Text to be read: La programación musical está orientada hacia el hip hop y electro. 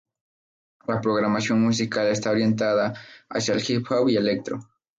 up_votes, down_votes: 4, 0